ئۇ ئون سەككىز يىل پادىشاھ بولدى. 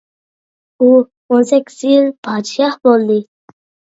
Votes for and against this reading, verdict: 2, 0, accepted